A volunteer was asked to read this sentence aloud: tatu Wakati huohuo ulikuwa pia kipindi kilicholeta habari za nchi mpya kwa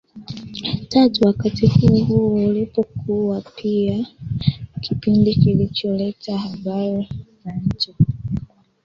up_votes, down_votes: 0, 2